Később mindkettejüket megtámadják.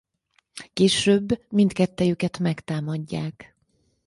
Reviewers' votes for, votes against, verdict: 4, 0, accepted